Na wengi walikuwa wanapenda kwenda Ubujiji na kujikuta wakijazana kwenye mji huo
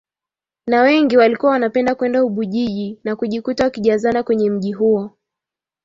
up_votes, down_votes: 2, 0